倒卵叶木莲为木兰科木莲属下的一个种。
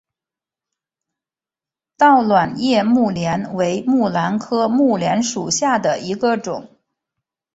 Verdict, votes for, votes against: accepted, 2, 0